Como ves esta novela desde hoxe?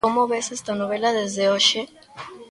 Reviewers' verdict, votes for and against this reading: accepted, 2, 0